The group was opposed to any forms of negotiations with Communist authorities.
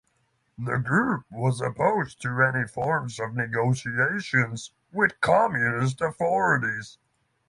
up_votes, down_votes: 3, 3